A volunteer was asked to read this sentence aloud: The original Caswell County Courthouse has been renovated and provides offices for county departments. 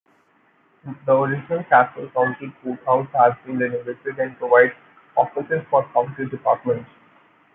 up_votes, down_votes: 2, 0